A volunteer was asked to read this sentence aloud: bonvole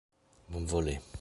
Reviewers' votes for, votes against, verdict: 0, 2, rejected